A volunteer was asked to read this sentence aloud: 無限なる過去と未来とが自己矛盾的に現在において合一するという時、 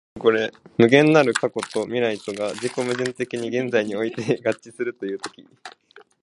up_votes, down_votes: 0, 2